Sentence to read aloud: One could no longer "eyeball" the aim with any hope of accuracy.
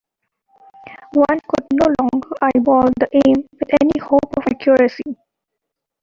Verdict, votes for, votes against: rejected, 1, 2